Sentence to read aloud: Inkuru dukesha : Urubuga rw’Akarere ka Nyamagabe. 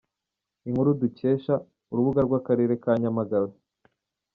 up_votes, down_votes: 2, 0